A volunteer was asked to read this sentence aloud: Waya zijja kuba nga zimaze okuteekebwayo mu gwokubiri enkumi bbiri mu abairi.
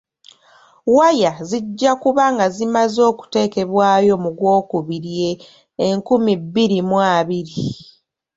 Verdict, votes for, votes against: accepted, 2, 0